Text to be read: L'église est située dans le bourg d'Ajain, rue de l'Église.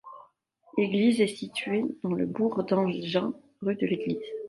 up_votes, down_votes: 1, 2